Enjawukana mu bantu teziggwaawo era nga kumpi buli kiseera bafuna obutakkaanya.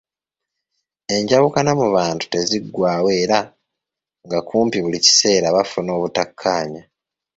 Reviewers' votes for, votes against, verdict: 2, 0, accepted